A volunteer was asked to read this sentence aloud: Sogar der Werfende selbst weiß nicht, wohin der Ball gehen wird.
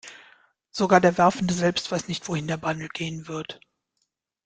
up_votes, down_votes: 0, 2